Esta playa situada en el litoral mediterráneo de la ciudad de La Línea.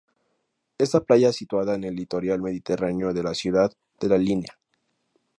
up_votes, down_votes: 0, 2